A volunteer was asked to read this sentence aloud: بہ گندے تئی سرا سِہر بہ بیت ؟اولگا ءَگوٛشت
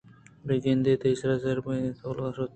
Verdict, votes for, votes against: rejected, 0, 2